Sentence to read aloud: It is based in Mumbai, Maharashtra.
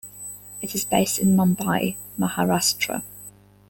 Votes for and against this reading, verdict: 2, 0, accepted